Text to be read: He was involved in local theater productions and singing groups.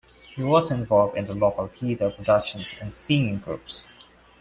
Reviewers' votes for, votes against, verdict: 0, 2, rejected